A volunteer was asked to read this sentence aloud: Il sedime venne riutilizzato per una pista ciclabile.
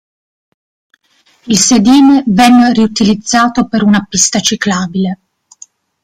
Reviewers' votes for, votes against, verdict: 1, 2, rejected